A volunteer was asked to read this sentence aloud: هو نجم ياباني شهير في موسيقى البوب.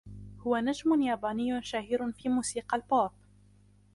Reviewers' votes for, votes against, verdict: 1, 2, rejected